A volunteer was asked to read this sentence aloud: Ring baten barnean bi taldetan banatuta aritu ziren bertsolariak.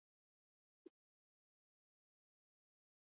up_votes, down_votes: 2, 0